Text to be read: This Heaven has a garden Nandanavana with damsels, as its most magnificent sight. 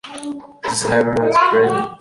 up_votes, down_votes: 0, 2